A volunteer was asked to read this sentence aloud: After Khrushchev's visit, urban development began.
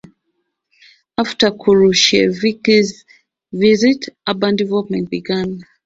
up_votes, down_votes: 0, 2